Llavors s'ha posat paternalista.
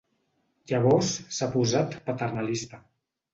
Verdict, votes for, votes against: accepted, 4, 0